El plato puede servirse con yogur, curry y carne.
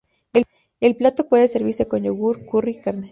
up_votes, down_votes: 2, 0